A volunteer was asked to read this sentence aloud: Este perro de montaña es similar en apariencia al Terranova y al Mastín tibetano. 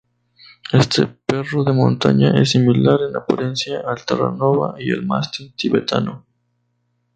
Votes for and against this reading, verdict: 2, 2, rejected